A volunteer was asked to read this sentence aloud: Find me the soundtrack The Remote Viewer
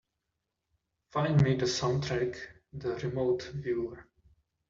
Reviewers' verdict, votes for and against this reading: accepted, 2, 0